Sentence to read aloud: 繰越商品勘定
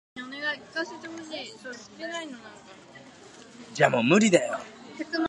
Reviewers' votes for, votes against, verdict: 0, 3, rejected